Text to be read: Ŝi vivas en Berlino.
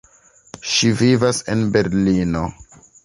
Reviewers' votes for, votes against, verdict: 3, 0, accepted